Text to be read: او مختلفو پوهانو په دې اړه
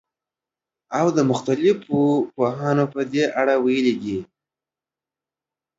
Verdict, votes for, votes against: rejected, 1, 2